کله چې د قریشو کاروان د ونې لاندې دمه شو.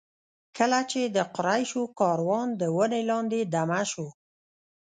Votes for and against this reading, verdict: 0, 2, rejected